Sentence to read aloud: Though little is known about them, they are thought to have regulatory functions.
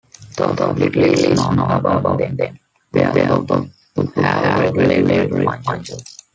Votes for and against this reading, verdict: 0, 2, rejected